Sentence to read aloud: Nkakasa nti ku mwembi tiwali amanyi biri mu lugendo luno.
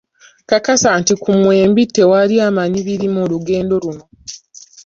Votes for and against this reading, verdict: 0, 2, rejected